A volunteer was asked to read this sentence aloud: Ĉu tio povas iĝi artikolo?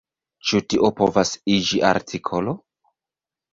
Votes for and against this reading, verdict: 0, 2, rejected